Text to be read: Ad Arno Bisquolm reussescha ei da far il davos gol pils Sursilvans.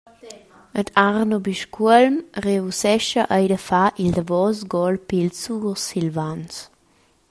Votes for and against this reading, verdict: 1, 2, rejected